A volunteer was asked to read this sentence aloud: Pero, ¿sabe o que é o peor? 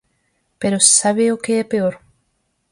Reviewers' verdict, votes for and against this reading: rejected, 2, 4